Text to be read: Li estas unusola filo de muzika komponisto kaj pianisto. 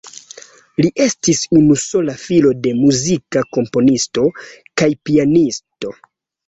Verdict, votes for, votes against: rejected, 2, 3